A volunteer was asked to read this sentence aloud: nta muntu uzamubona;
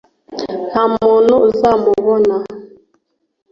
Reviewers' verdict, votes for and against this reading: accepted, 2, 0